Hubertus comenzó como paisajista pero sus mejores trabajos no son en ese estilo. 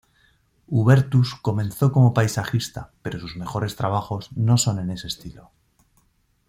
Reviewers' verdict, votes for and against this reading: accepted, 2, 0